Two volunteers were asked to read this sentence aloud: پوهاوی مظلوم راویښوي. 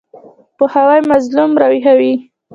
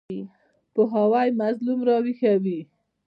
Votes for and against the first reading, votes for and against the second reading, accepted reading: 1, 2, 2, 0, second